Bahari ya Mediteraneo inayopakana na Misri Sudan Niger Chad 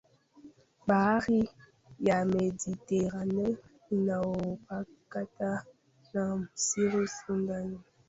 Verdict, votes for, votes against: rejected, 0, 2